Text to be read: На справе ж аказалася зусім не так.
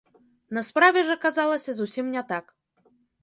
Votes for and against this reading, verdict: 2, 0, accepted